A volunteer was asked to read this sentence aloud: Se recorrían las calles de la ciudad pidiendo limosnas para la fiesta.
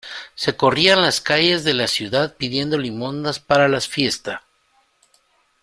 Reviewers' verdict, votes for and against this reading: rejected, 1, 2